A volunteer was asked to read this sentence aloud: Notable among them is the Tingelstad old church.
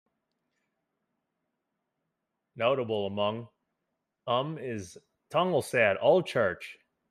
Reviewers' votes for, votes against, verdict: 0, 2, rejected